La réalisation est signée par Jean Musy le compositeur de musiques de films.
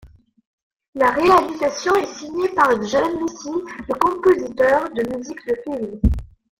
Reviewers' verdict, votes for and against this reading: accepted, 2, 0